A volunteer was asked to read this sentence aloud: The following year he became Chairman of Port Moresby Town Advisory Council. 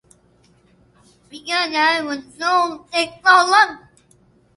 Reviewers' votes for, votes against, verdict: 1, 2, rejected